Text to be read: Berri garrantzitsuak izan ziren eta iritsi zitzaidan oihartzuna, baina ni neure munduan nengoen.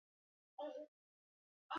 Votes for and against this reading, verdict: 0, 2, rejected